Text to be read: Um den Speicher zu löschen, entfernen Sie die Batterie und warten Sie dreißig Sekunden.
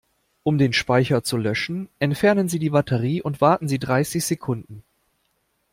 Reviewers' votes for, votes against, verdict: 2, 0, accepted